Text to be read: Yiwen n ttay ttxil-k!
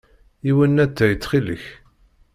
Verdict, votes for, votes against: rejected, 1, 2